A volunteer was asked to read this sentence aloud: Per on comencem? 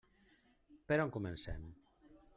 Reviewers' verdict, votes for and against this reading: accepted, 2, 0